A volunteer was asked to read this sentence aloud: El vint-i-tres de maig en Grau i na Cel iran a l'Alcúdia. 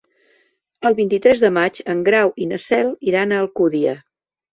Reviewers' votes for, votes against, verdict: 1, 2, rejected